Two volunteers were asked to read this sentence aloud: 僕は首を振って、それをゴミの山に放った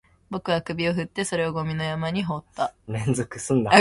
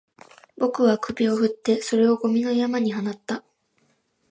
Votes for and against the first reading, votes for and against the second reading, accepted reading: 0, 2, 3, 0, second